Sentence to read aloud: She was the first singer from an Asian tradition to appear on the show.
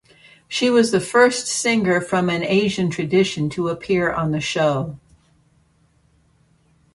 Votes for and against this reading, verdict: 2, 0, accepted